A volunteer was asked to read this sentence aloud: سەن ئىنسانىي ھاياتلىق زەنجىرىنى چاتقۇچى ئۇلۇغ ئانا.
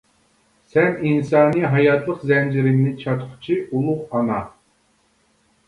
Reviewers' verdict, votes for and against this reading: rejected, 0, 2